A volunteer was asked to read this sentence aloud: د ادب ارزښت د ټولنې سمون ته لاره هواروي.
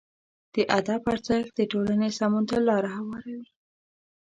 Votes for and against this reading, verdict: 2, 0, accepted